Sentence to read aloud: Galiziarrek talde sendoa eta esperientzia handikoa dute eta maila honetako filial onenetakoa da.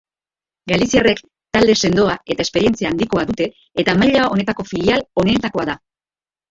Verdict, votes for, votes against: rejected, 0, 2